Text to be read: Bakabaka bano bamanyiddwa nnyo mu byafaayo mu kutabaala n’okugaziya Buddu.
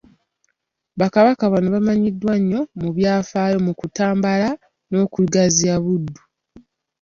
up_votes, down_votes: 1, 2